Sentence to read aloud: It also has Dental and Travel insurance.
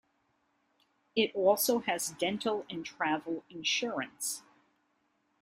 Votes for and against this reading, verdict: 2, 0, accepted